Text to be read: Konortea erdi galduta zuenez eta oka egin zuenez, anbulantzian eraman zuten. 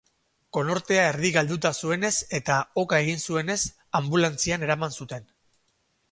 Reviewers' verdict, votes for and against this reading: accepted, 4, 0